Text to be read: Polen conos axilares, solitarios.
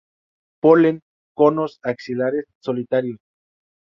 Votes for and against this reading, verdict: 2, 0, accepted